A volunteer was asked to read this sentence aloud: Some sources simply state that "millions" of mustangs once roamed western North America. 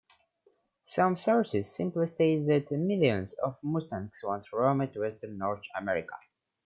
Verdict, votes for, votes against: accepted, 2, 0